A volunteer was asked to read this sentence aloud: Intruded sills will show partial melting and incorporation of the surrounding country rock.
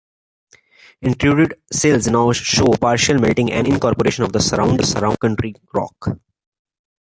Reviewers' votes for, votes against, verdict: 0, 2, rejected